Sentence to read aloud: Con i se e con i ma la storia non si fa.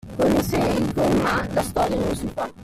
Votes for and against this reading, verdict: 1, 2, rejected